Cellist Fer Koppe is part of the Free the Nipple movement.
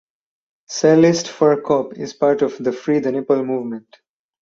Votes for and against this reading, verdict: 4, 0, accepted